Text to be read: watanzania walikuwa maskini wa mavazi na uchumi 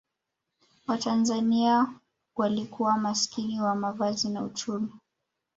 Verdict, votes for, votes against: accepted, 2, 0